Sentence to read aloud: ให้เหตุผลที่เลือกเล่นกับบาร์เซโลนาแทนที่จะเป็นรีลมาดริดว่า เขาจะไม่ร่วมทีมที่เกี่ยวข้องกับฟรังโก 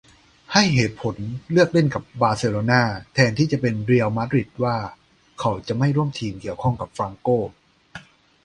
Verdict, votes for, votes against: rejected, 0, 2